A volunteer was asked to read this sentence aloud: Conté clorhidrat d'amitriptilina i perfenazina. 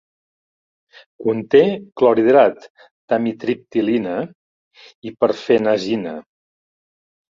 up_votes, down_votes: 2, 0